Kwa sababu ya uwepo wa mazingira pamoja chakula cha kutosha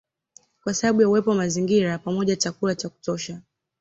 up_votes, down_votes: 2, 0